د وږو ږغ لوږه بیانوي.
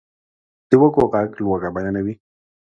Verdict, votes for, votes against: accepted, 2, 0